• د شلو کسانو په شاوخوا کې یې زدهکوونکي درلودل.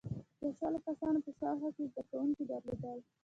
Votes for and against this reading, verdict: 2, 0, accepted